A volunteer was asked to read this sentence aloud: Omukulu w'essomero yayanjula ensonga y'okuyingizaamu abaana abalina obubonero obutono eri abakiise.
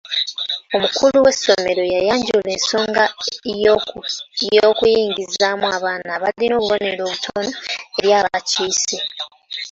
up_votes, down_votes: 1, 2